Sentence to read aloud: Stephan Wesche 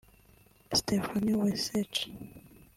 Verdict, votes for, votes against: rejected, 1, 2